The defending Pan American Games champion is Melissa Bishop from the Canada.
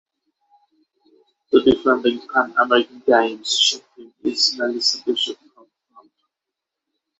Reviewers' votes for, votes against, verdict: 0, 6, rejected